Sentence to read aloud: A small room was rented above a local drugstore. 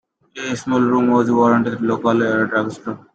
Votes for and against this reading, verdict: 0, 2, rejected